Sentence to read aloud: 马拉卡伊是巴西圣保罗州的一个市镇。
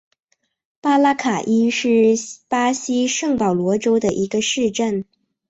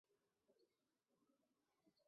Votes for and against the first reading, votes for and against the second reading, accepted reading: 2, 0, 1, 6, first